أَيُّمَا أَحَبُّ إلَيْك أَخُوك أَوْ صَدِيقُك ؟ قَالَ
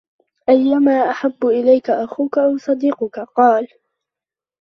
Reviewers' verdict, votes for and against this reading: rejected, 1, 2